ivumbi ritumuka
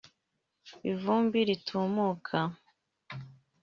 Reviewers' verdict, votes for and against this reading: accepted, 3, 0